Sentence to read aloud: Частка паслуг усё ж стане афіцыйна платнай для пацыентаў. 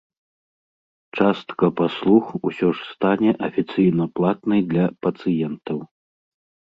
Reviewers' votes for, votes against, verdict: 2, 0, accepted